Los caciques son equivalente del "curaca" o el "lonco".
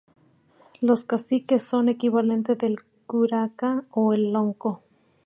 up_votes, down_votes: 2, 0